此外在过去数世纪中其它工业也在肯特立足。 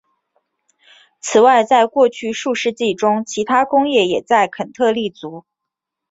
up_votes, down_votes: 2, 0